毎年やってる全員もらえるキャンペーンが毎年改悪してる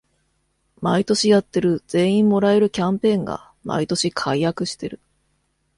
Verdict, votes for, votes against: accepted, 2, 0